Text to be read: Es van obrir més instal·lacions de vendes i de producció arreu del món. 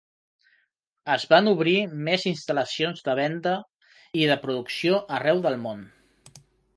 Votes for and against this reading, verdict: 1, 5, rejected